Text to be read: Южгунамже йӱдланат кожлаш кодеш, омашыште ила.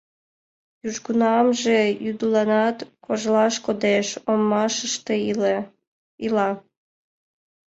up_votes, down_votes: 0, 2